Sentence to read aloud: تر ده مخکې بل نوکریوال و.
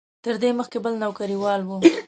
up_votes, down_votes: 2, 0